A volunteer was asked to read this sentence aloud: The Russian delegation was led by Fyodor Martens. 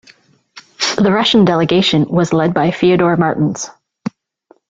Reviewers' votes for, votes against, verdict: 2, 0, accepted